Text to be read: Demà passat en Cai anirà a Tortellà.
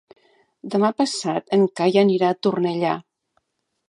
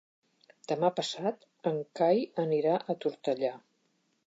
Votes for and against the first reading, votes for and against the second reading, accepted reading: 1, 2, 3, 0, second